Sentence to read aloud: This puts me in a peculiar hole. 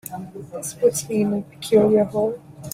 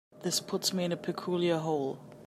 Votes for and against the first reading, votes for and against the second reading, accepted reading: 4, 0, 0, 2, first